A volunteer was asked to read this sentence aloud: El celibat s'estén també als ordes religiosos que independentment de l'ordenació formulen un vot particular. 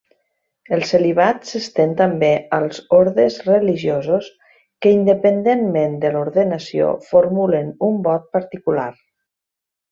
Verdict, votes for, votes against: accepted, 2, 0